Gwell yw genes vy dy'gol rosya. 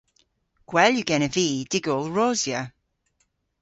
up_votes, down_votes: 0, 2